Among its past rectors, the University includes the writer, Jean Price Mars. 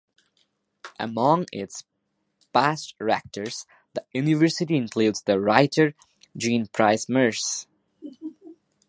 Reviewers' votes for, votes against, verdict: 0, 2, rejected